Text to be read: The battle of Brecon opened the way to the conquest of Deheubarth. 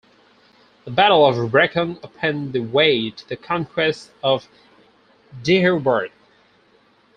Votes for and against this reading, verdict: 0, 2, rejected